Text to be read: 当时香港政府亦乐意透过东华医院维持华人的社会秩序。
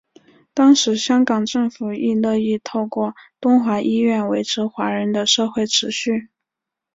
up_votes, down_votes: 6, 0